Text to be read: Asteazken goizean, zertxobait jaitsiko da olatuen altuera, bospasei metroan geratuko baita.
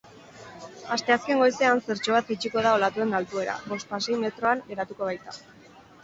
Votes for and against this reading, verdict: 4, 0, accepted